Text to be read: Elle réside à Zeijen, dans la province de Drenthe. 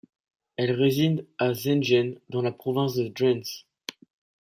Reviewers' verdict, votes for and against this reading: accepted, 2, 1